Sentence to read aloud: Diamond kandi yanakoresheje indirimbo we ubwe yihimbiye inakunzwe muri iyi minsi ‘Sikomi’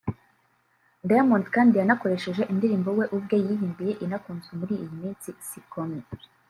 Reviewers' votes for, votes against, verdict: 0, 2, rejected